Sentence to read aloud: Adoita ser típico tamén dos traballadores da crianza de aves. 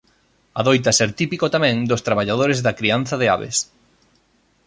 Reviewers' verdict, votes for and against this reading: accepted, 3, 0